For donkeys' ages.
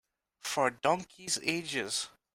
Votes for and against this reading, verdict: 2, 0, accepted